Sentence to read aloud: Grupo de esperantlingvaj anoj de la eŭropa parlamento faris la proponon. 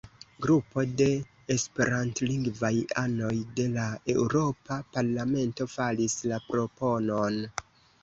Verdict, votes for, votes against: rejected, 1, 2